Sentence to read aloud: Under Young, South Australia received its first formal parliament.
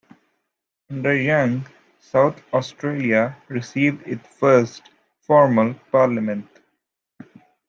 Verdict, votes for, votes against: accepted, 2, 0